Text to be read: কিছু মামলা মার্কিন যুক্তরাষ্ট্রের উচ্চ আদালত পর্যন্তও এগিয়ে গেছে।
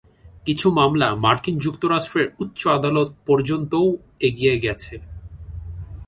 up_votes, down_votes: 2, 0